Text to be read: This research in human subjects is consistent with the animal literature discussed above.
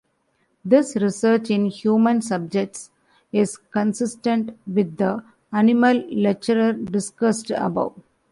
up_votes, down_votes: 1, 2